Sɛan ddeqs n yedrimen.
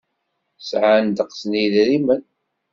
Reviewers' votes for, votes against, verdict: 2, 0, accepted